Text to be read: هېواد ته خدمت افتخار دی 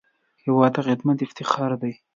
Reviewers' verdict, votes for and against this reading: accepted, 2, 0